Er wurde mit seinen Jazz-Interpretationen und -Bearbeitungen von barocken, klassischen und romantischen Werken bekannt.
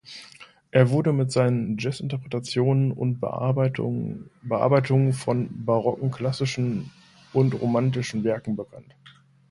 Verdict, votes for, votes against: rejected, 1, 2